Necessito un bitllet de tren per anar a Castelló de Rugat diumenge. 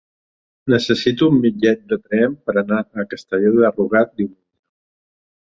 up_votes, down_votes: 0, 3